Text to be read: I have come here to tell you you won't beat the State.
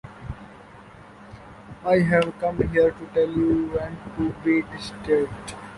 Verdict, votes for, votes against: rejected, 0, 2